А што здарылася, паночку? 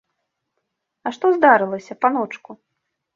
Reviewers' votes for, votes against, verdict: 2, 0, accepted